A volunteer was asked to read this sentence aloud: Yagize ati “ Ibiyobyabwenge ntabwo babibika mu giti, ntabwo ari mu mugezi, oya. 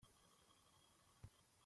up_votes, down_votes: 0, 2